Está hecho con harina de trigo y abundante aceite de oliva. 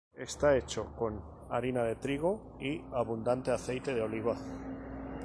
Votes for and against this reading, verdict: 0, 2, rejected